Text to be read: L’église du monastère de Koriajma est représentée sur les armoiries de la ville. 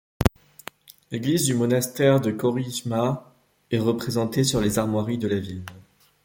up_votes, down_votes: 1, 2